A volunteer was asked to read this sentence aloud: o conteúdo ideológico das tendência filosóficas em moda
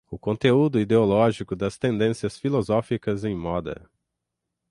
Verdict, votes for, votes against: rejected, 0, 3